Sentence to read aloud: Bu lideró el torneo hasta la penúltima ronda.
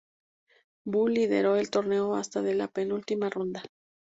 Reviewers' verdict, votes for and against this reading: rejected, 0, 2